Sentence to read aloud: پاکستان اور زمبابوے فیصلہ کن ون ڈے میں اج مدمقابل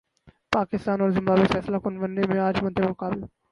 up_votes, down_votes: 0, 4